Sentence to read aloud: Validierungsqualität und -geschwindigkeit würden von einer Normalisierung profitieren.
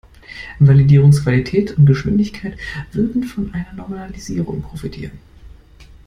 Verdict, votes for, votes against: accepted, 2, 0